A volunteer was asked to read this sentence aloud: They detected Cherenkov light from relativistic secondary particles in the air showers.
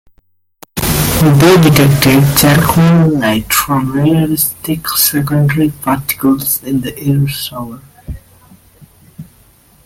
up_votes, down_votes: 0, 2